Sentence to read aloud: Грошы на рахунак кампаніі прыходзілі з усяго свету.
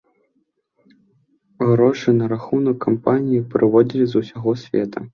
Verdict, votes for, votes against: rejected, 0, 2